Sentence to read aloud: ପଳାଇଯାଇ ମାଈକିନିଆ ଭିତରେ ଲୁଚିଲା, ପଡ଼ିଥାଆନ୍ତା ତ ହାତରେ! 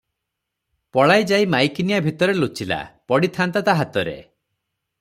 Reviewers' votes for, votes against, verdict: 0, 3, rejected